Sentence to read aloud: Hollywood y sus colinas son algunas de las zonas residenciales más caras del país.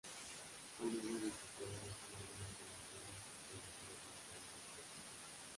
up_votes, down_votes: 0, 2